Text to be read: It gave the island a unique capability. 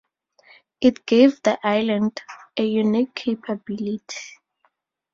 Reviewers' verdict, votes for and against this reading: rejected, 2, 2